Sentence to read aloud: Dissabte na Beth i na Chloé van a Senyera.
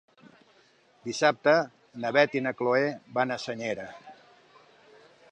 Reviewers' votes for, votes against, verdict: 2, 0, accepted